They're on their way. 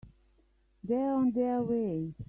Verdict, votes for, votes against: accepted, 2, 1